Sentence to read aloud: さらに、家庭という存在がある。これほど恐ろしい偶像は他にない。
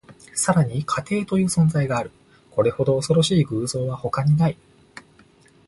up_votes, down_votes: 2, 0